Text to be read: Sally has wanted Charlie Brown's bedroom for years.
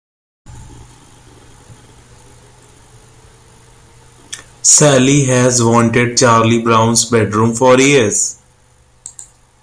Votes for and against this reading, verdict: 2, 0, accepted